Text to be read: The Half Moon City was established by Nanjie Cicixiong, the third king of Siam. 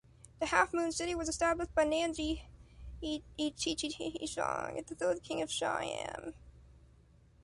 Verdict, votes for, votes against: rejected, 0, 2